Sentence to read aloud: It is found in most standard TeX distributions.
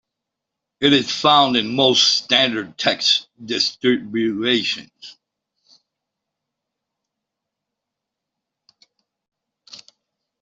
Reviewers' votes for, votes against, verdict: 0, 2, rejected